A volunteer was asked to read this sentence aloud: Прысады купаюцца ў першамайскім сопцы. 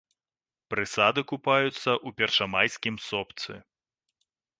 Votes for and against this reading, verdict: 0, 2, rejected